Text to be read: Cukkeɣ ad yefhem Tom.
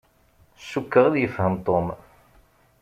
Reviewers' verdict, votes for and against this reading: accepted, 3, 0